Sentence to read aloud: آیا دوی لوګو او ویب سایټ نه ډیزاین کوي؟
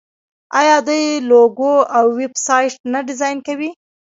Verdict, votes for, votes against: rejected, 0, 2